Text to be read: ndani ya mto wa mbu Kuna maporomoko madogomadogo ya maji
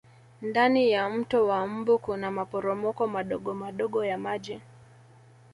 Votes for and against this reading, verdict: 2, 1, accepted